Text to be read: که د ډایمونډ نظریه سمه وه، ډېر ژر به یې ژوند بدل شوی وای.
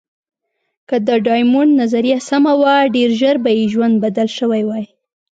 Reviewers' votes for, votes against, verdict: 2, 0, accepted